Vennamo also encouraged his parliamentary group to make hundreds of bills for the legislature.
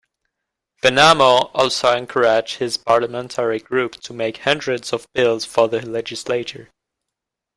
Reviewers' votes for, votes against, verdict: 1, 2, rejected